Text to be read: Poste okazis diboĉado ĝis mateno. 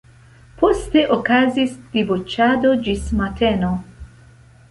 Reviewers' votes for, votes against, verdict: 2, 0, accepted